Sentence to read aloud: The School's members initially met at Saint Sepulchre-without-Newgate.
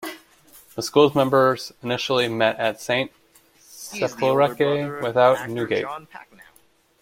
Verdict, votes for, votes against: rejected, 1, 2